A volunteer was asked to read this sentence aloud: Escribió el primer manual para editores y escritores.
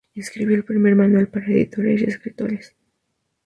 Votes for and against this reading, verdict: 2, 0, accepted